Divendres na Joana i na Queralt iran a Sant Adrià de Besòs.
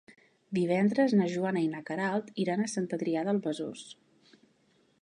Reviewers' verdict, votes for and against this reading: rejected, 0, 2